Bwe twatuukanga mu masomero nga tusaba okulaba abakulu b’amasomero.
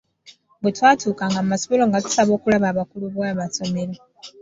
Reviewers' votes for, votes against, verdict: 2, 0, accepted